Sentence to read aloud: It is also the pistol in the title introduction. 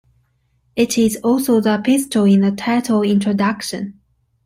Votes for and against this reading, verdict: 2, 1, accepted